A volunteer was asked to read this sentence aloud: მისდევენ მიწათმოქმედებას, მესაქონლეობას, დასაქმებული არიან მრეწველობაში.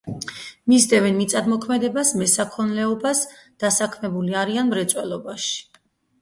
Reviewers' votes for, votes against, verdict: 2, 2, rejected